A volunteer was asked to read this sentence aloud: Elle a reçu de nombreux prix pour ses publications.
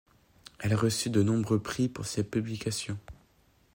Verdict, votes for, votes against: accepted, 2, 0